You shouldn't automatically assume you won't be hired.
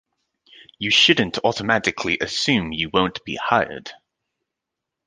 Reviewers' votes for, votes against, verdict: 2, 1, accepted